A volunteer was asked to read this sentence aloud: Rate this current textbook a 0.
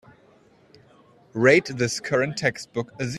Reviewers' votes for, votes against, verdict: 0, 2, rejected